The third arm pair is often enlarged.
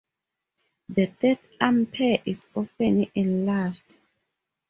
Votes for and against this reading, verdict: 2, 2, rejected